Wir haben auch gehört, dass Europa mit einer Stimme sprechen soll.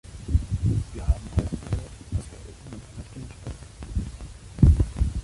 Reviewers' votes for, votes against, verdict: 0, 2, rejected